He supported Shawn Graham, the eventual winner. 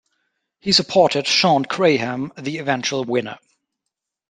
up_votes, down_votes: 2, 0